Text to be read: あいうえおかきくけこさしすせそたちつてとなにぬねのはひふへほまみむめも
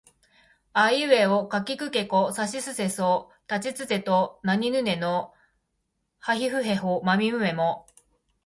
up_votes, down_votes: 2, 1